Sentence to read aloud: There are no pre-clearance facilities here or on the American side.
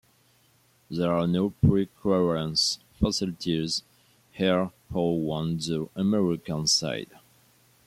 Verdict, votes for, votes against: rejected, 1, 2